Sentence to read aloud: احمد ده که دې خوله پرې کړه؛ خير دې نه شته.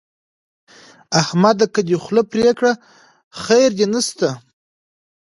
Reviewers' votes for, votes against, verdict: 2, 0, accepted